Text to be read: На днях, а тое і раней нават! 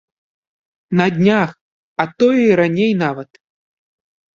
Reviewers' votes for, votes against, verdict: 2, 0, accepted